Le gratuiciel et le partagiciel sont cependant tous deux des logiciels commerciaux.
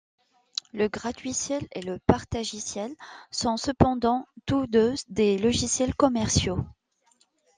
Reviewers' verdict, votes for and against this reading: accepted, 2, 0